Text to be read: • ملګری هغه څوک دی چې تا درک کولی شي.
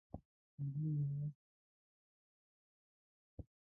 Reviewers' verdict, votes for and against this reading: rejected, 0, 2